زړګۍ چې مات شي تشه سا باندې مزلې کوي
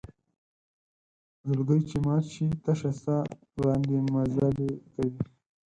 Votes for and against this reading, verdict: 0, 4, rejected